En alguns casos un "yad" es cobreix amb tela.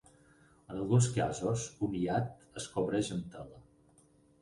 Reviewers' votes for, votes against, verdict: 0, 6, rejected